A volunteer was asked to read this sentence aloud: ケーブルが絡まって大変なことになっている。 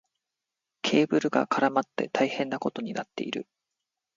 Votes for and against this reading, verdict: 2, 0, accepted